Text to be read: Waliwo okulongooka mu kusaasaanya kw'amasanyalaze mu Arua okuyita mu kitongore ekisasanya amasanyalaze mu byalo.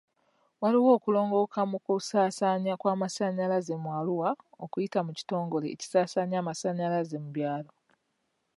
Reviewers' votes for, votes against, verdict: 2, 0, accepted